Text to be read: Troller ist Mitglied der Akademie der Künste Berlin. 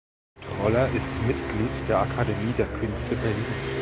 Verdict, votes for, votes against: rejected, 1, 2